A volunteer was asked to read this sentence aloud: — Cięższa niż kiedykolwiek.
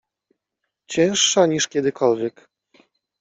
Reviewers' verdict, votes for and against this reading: accepted, 2, 0